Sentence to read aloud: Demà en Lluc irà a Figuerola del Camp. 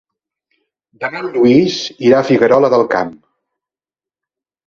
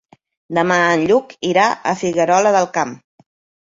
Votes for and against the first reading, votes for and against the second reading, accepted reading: 0, 2, 3, 0, second